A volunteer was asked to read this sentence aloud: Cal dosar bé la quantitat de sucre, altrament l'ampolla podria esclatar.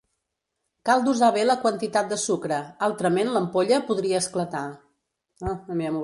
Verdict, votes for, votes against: rejected, 0, 2